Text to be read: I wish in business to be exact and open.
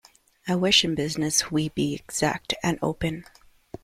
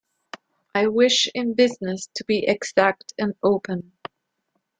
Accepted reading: second